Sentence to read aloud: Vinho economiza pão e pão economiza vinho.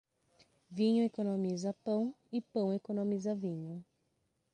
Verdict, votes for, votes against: rejected, 3, 3